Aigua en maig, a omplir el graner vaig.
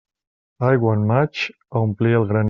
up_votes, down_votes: 0, 2